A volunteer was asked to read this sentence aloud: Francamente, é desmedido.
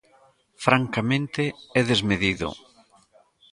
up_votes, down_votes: 1, 2